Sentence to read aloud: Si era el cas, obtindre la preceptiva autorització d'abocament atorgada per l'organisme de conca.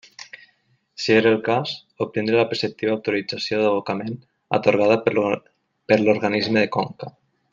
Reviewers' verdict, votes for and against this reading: rejected, 0, 2